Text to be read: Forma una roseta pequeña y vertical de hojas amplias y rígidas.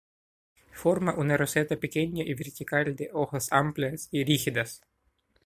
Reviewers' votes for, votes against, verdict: 2, 0, accepted